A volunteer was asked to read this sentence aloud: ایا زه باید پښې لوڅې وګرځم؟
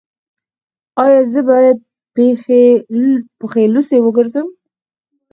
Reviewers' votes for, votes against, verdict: 4, 0, accepted